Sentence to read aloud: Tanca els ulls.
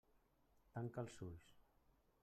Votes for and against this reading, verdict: 0, 2, rejected